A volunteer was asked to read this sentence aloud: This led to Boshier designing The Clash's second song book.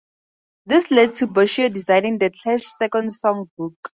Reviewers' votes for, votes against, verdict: 2, 2, rejected